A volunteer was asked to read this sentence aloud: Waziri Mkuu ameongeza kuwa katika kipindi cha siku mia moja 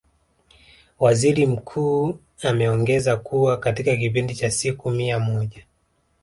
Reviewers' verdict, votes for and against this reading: rejected, 0, 2